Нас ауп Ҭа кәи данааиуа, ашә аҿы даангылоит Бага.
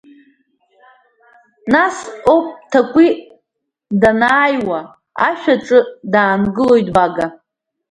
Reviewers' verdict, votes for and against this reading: rejected, 1, 2